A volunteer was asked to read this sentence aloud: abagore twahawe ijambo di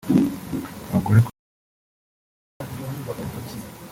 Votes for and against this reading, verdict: 0, 2, rejected